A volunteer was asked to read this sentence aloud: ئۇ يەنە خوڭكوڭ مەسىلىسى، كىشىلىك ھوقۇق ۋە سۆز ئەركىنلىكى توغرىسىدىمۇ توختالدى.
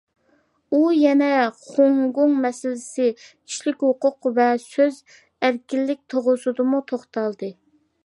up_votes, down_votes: 0, 2